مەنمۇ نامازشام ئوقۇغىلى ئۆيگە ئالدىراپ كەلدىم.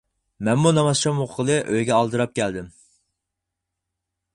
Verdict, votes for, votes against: rejected, 0, 4